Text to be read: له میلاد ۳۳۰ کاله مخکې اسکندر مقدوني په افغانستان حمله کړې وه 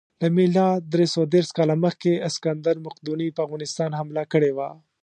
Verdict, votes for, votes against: rejected, 0, 2